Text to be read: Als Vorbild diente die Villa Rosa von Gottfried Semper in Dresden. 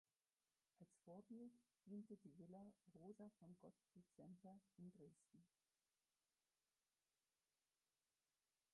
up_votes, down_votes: 0, 4